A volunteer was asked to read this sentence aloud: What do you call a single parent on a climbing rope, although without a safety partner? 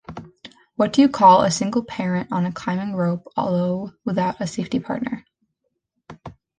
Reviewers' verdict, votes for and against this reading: accepted, 2, 0